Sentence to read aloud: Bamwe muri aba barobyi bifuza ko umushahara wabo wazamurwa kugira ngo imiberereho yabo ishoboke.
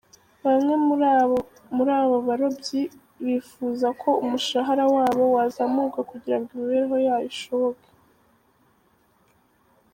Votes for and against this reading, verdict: 1, 2, rejected